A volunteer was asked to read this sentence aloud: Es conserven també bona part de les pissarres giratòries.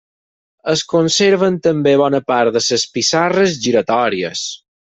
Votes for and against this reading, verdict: 0, 4, rejected